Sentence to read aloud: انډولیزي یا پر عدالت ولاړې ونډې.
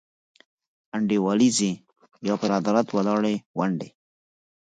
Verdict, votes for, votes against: rejected, 2, 4